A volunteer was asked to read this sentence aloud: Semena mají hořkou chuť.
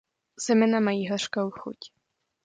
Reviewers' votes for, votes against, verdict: 2, 0, accepted